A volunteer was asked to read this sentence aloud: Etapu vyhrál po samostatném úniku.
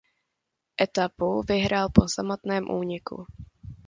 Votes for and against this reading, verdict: 2, 1, accepted